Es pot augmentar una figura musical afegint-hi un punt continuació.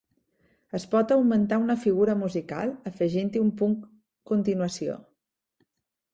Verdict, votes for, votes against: accepted, 3, 0